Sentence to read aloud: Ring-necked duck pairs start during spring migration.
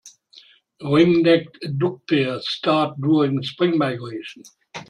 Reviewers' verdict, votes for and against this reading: rejected, 0, 2